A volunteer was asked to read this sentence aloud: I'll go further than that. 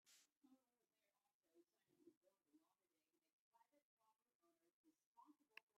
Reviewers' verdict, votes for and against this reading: rejected, 0, 3